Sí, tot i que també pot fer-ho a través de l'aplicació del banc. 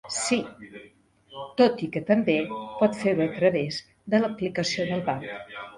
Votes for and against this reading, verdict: 2, 1, accepted